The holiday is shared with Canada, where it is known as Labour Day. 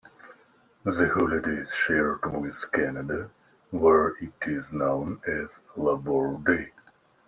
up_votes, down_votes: 2, 0